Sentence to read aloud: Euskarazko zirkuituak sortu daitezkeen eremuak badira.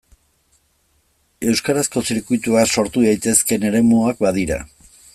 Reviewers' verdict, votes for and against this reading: rejected, 1, 2